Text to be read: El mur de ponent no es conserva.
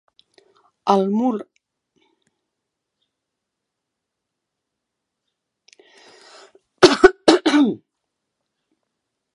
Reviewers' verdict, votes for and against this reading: rejected, 0, 2